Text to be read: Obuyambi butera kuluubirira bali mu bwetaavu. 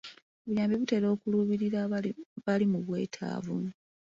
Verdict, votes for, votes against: accepted, 2, 0